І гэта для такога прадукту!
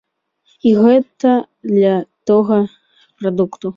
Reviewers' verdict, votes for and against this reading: rejected, 0, 2